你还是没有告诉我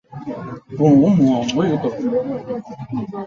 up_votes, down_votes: 1, 2